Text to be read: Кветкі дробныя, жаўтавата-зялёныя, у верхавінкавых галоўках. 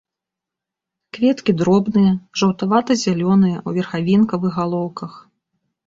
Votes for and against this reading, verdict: 2, 0, accepted